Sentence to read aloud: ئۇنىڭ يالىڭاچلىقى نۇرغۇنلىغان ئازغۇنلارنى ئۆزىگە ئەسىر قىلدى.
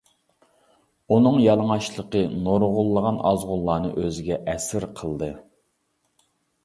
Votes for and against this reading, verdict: 2, 0, accepted